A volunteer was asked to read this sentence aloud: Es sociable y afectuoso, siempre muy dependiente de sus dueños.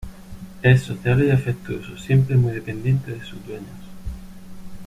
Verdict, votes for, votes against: rejected, 0, 2